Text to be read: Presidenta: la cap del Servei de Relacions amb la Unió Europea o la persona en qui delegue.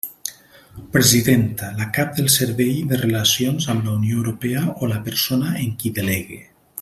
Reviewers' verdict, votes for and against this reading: accepted, 3, 0